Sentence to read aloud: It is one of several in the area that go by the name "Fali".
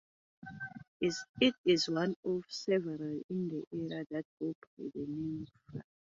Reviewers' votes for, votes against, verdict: 1, 2, rejected